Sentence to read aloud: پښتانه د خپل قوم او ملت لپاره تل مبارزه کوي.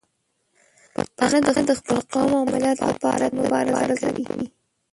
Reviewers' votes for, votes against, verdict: 1, 2, rejected